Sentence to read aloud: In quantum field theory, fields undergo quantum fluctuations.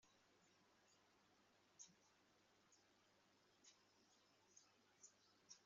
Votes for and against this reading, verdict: 0, 2, rejected